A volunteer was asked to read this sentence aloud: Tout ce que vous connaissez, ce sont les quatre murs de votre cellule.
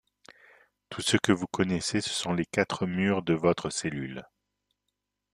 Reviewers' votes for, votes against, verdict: 3, 2, accepted